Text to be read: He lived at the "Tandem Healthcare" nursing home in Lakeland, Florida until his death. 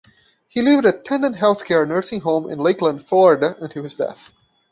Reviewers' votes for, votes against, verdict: 2, 0, accepted